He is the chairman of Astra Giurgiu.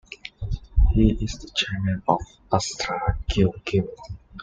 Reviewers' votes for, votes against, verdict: 0, 2, rejected